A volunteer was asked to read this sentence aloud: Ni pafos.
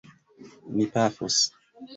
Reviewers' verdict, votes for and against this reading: accepted, 2, 1